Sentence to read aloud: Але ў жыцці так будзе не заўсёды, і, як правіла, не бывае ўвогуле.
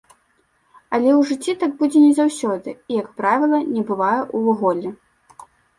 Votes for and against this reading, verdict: 0, 2, rejected